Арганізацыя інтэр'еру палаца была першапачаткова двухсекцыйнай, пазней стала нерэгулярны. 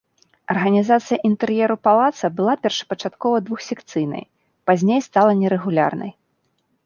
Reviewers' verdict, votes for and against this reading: rejected, 0, 2